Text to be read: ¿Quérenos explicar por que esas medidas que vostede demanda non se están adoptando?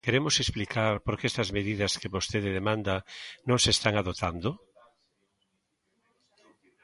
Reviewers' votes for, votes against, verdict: 0, 2, rejected